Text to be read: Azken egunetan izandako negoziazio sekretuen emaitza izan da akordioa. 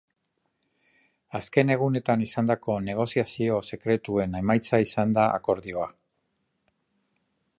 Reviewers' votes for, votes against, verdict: 2, 0, accepted